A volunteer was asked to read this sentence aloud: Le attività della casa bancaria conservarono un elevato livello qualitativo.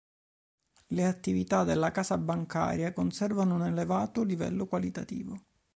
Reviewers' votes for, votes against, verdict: 1, 2, rejected